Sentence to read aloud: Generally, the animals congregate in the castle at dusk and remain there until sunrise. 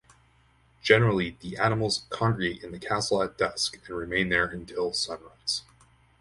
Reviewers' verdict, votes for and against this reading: rejected, 0, 2